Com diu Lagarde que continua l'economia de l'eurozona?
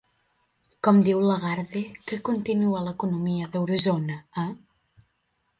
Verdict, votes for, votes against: rejected, 0, 3